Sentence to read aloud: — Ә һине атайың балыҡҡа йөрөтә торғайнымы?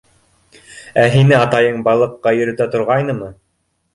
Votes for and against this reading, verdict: 2, 1, accepted